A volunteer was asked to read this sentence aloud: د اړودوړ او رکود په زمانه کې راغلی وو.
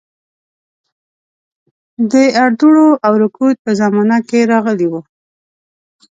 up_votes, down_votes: 0, 2